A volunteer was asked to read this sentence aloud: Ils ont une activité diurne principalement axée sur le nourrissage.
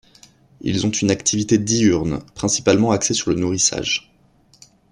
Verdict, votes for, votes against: accepted, 2, 0